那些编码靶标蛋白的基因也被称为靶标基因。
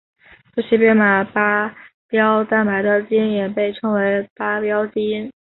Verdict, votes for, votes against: rejected, 0, 2